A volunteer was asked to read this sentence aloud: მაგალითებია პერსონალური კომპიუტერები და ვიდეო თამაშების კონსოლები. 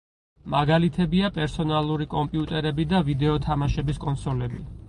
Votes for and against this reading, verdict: 4, 0, accepted